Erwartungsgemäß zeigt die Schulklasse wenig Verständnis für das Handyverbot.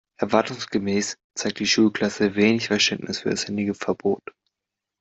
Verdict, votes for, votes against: rejected, 1, 2